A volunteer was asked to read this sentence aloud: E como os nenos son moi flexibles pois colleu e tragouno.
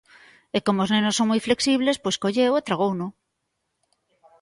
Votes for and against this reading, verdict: 2, 0, accepted